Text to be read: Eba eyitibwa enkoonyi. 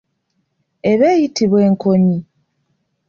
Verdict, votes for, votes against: rejected, 1, 2